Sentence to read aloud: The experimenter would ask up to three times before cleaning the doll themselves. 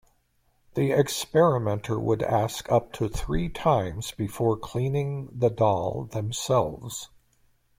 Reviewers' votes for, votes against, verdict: 2, 0, accepted